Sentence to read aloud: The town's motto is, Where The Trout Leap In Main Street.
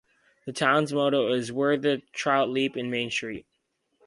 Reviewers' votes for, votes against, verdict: 4, 0, accepted